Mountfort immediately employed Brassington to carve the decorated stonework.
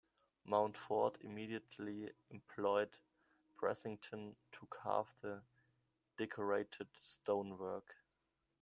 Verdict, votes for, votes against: rejected, 1, 2